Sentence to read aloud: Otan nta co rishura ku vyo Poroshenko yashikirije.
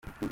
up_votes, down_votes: 0, 2